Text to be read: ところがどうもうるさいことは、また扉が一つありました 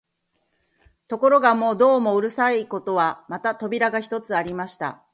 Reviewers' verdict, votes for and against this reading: rejected, 0, 2